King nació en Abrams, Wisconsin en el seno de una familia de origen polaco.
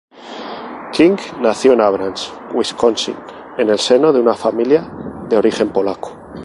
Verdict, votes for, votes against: rejected, 0, 2